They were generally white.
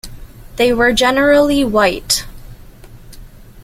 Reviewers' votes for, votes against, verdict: 2, 0, accepted